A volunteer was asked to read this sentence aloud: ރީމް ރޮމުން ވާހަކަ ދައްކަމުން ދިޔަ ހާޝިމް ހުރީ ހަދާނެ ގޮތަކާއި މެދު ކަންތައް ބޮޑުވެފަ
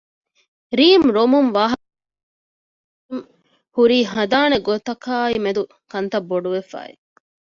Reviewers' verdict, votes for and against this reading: rejected, 0, 2